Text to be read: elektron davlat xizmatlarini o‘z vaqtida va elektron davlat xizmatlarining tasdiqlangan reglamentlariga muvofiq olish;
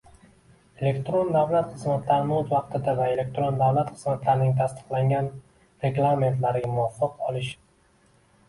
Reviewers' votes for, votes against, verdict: 2, 1, accepted